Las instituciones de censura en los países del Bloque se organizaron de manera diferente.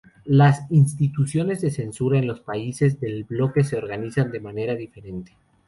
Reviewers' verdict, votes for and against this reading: accepted, 2, 0